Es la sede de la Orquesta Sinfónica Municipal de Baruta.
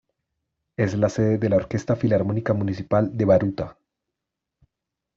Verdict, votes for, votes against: rejected, 0, 2